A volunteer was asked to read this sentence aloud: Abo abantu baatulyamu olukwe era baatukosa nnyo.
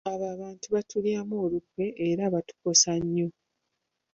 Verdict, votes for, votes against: accepted, 2, 0